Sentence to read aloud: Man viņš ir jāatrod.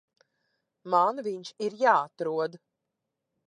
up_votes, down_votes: 2, 0